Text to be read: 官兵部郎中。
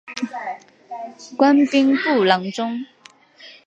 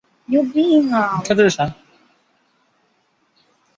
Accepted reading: first